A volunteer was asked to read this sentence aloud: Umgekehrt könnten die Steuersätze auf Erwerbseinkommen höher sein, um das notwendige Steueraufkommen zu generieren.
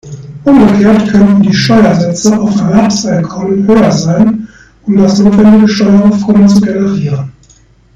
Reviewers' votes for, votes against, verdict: 1, 2, rejected